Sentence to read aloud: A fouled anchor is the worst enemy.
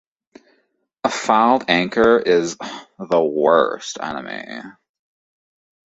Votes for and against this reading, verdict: 1, 2, rejected